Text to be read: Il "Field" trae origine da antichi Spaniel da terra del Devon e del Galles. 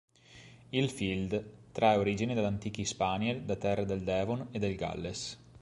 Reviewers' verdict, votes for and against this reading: accepted, 3, 1